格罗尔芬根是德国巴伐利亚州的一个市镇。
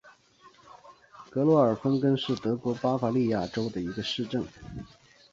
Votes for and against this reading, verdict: 3, 0, accepted